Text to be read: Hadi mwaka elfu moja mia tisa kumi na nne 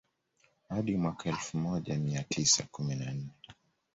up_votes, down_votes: 2, 0